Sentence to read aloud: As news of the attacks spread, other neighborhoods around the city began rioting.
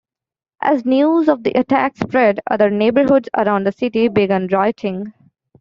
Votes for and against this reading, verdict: 2, 1, accepted